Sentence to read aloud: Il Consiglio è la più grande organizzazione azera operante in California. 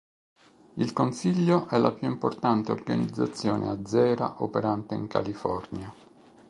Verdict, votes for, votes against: accepted, 2, 1